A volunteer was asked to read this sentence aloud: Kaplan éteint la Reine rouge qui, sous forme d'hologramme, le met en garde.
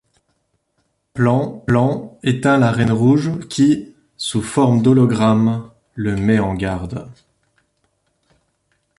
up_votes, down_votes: 2, 3